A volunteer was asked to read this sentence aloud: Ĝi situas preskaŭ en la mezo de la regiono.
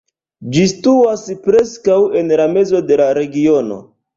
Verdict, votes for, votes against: accepted, 2, 1